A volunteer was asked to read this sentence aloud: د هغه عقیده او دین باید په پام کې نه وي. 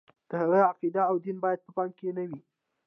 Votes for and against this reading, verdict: 2, 0, accepted